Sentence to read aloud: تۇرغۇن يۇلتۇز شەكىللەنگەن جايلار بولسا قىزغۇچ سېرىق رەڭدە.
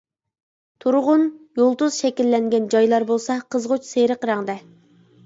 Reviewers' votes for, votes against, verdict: 3, 0, accepted